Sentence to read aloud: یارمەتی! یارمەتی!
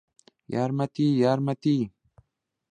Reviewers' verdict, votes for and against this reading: accepted, 2, 0